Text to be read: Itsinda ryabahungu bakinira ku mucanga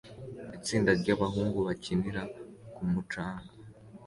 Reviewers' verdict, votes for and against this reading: accepted, 2, 0